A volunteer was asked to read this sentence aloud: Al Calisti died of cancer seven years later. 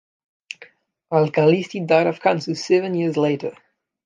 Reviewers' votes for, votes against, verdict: 0, 2, rejected